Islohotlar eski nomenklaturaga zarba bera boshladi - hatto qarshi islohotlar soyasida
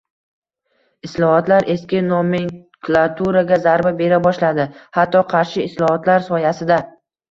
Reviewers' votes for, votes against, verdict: 1, 2, rejected